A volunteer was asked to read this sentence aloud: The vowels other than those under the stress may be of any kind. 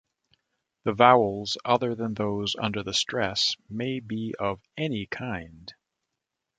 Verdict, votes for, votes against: accepted, 2, 0